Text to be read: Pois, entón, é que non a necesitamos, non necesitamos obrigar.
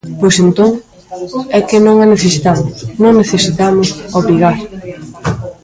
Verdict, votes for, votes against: rejected, 1, 2